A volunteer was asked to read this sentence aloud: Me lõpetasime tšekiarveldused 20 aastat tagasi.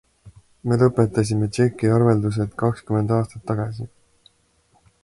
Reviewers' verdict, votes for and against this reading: rejected, 0, 2